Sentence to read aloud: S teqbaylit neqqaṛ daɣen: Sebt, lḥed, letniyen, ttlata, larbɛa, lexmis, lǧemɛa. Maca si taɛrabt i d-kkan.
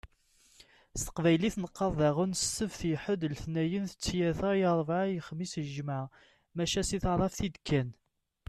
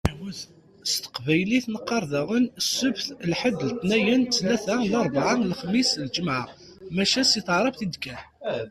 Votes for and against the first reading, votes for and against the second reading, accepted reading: 1, 2, 2, 1, second